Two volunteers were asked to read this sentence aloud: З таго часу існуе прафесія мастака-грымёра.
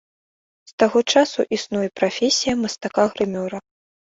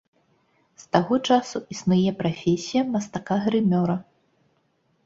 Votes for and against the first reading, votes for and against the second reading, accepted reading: 1, 2, 2, 0, second